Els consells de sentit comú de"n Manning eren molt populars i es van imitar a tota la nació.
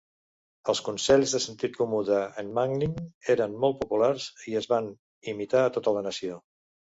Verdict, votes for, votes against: rejected, 0, 2